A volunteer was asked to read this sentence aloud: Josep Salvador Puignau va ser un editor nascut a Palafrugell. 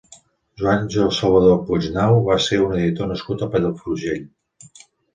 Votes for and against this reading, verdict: 1, 2, rejected